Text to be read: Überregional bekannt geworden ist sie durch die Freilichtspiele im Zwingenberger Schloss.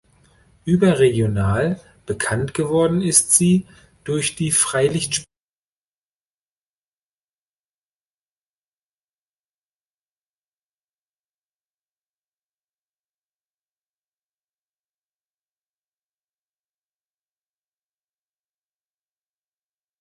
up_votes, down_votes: 0, 2